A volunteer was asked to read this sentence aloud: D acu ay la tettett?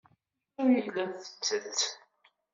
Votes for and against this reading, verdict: 1, 2, rejected